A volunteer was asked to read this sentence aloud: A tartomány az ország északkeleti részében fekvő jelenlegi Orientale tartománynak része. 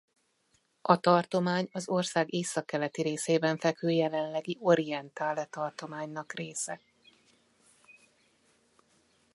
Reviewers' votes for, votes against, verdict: 2, 0, accepted